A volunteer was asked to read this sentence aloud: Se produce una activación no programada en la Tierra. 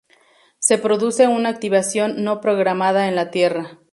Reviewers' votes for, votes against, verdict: 2, 0, accepted